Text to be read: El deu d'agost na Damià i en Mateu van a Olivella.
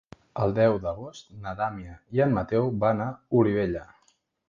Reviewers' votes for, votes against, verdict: 0, 2, rejected